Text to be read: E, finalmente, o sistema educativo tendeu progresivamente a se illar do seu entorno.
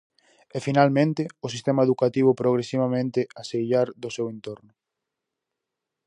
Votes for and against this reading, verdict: 0, 4, rejected